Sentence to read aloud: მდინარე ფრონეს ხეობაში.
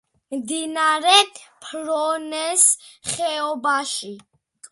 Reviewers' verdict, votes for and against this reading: accepted, 2, 1